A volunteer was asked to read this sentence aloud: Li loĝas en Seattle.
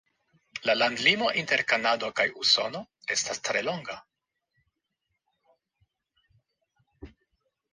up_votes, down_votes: 0, 2